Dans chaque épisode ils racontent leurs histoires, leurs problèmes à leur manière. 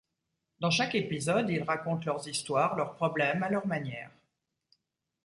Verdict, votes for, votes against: accepted, 2, 0